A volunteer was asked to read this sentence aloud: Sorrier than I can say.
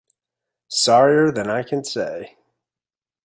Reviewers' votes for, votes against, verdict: 2, 0, accepted